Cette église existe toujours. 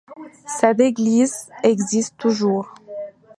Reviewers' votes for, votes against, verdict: 1, 2, rejected